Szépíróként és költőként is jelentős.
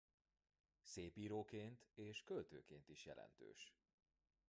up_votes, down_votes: 2, 0